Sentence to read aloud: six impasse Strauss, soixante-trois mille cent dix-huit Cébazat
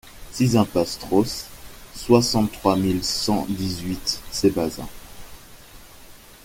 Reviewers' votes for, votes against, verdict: 2, 0, accepted